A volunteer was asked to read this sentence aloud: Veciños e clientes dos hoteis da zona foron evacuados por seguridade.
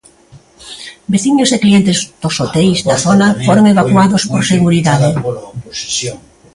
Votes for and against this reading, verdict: 0, 2, rejected